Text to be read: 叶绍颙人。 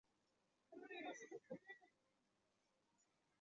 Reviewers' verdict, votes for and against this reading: rejected, 0, 3